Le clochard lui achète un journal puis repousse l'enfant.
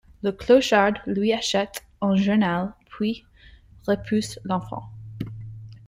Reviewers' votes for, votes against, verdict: 2, 1, accepted